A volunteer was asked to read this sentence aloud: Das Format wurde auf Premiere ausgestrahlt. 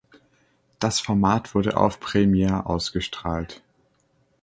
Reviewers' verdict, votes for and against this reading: accepted, 2, 1